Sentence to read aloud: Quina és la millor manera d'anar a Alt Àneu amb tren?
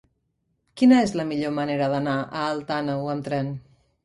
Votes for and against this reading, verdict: 2, 0, accepted